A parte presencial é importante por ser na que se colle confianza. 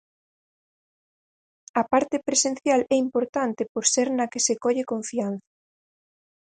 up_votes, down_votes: 0, 4